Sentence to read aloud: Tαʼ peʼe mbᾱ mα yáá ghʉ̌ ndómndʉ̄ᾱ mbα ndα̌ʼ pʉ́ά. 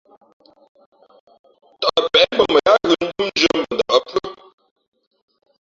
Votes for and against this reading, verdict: 2, 1, accepted